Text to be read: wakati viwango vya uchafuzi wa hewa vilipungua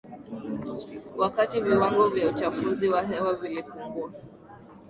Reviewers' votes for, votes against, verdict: 2, 0, accepted